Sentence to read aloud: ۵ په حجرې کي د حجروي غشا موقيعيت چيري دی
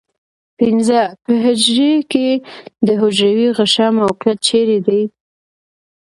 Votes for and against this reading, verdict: 0, 2, rejected